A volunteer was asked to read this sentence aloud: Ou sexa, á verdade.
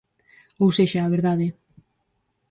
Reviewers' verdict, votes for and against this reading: accepted, 4, 0